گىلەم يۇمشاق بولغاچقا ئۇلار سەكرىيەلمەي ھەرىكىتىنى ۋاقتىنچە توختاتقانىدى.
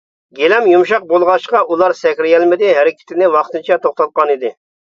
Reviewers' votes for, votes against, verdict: 0, 2, rejected